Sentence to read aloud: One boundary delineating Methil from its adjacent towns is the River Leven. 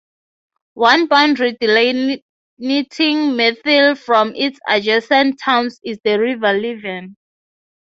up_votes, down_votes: 0, 3